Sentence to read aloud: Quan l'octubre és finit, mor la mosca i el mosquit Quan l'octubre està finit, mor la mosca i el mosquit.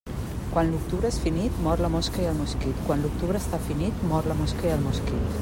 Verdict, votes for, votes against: accepted, 2, 0